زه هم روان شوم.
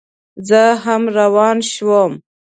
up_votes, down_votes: 3, 0